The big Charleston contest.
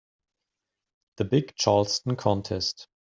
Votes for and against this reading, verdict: 3, 0, accepted